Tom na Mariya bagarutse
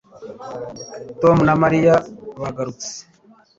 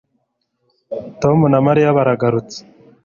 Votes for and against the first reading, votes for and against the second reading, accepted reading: 2, 0, 0, 2, first